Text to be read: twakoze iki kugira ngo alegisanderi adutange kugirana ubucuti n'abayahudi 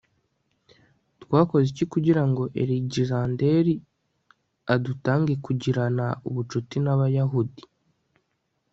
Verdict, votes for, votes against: rejected, 1, 2